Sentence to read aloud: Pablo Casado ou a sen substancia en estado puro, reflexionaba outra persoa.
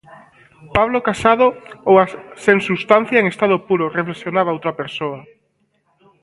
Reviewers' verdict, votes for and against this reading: rejected, 0, 2